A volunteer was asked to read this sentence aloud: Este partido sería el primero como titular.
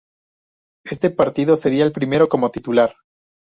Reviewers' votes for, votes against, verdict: 2, 0, accepted